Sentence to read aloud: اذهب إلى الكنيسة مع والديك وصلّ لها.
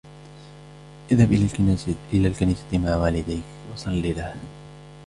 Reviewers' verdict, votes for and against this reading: rejected, 0, 2